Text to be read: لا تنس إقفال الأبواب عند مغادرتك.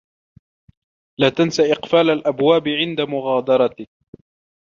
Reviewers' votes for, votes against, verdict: 1, 2, rejected